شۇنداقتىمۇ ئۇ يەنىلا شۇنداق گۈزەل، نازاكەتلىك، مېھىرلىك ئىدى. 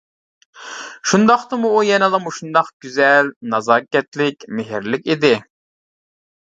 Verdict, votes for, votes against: rejected, 0, 2